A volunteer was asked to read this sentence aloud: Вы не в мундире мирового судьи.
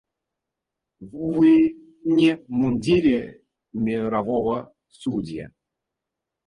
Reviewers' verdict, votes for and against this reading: rejected, 0, 4